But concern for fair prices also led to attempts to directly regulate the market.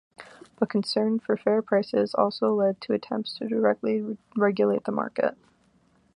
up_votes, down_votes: 2, 0